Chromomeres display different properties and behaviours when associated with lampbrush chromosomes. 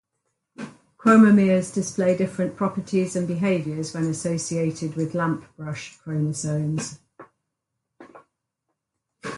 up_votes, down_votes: 4, 0